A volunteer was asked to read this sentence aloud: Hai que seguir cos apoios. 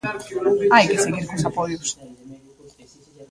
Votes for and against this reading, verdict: 1, 2, rejected